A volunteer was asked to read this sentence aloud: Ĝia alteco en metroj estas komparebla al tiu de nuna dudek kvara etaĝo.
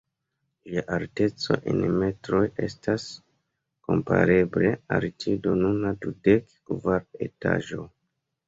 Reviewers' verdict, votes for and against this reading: rejected, 1, 2